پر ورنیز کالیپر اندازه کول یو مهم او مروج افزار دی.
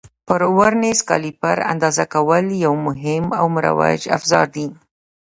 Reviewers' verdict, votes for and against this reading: rejected, 0, 2